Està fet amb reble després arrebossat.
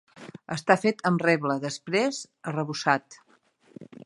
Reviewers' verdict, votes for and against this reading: accepted, 2, 0